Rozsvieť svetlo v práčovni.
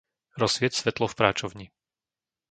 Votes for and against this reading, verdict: 2, 0, accepted